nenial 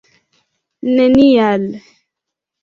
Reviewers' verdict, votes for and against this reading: rejected, 1, 2